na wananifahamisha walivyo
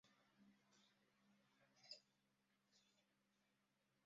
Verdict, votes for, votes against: rejected, 0, 2